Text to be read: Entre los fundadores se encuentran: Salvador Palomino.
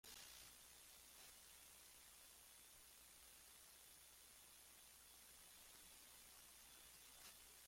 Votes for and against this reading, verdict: 0, 2, rejected